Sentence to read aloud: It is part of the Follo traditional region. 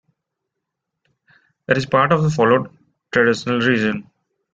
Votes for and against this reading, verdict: 1, 2, rejected